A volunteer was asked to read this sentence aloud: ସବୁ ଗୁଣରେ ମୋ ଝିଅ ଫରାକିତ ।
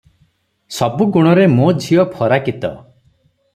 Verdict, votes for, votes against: rejected, 0, 3